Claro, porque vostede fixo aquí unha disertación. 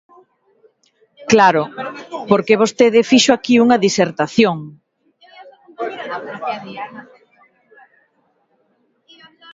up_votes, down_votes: 1, 2